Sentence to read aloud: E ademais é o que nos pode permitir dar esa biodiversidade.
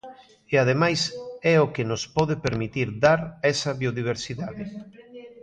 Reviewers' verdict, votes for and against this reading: accepted, 2, 1